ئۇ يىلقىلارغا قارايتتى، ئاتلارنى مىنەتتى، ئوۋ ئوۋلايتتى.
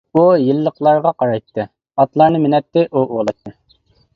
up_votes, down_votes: 0, 2